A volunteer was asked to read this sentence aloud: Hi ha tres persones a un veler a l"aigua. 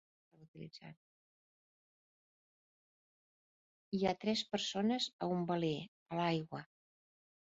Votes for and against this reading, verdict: 1, 2, rejected